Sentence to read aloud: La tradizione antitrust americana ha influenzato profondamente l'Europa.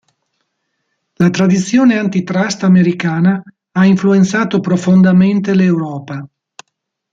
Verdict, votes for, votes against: accepted, 2, 0